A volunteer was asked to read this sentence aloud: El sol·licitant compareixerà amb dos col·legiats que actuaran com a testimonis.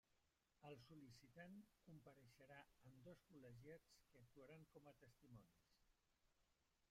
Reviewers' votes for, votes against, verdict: 0, 2, rejected